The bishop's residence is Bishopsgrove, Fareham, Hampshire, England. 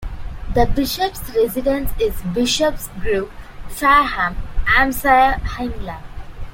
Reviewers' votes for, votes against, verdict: 2, 1, accepted